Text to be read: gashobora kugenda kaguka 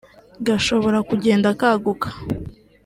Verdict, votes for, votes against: accepted, 2, 1